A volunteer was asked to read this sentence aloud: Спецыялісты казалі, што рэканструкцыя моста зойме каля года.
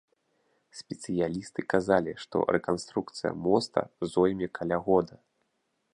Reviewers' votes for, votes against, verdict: 2, 0, accepted